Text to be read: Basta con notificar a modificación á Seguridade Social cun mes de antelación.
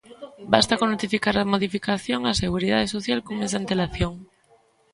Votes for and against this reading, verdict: 1, 2, rejected